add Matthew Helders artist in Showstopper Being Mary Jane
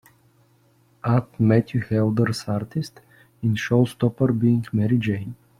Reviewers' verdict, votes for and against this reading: rejected, 0, 2